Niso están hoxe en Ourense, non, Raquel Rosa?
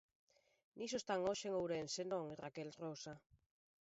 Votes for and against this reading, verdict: 1, 3, rejected